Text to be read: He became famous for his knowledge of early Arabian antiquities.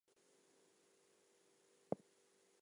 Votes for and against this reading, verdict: 0, 2, rejected